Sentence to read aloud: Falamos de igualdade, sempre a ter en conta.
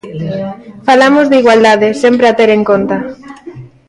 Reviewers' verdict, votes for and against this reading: rejected, 1, 2